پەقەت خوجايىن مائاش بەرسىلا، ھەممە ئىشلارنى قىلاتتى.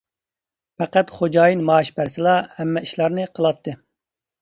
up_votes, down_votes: 2, 0